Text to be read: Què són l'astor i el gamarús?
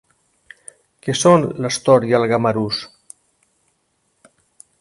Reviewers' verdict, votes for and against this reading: accepted, 2, 0